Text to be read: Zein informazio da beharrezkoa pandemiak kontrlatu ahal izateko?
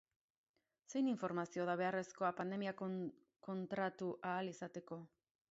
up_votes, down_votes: 0, 2